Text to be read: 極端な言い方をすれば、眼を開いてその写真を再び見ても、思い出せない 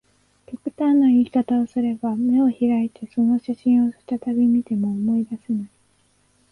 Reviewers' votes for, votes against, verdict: 2, 0, accepted